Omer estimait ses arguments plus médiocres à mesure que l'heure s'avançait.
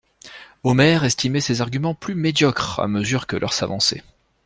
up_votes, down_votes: 2, 0